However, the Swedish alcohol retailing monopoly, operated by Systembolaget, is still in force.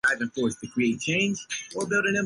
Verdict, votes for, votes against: rejected, 0, 2